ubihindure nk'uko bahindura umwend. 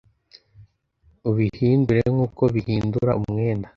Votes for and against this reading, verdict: 1, 2, rejected